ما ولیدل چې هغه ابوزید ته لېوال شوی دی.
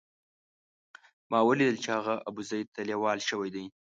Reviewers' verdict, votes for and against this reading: accepted, 2, 0